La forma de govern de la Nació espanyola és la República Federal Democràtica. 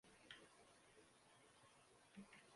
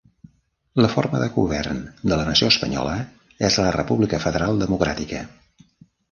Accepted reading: second